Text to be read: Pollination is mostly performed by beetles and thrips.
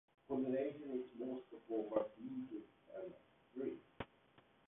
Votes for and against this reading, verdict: 0, 2, rejected